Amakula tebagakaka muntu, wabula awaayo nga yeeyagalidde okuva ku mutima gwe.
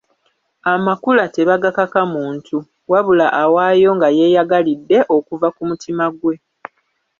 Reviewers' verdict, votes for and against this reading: rejected, 1, 2